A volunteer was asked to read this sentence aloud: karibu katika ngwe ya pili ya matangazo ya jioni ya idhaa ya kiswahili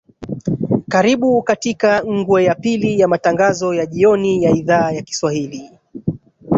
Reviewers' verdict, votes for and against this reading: rejected, 1, 2